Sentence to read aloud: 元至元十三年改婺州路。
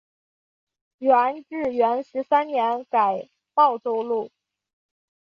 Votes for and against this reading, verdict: 3, 0, accepted